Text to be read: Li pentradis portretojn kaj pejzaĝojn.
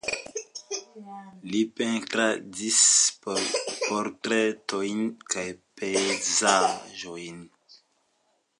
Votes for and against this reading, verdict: 2, 1, accepted